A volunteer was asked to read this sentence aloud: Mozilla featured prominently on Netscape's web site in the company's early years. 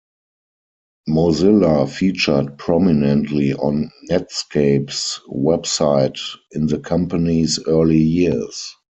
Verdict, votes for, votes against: accepted, 4, 0